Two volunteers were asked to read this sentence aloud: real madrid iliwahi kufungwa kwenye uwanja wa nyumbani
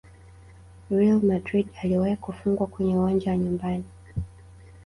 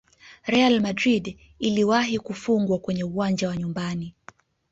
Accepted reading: second